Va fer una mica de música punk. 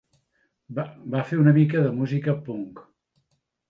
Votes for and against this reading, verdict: 0, 2, rejected